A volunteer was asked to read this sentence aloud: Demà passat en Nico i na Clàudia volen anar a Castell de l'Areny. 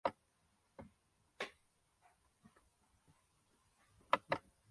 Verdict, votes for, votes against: rejected, 0, 2